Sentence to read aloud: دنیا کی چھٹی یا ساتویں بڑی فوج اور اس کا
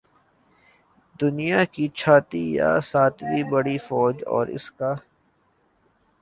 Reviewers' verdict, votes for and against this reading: rejected, 0, 2